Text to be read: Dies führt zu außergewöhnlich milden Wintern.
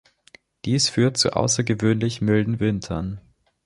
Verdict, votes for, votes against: accepted, 2, 0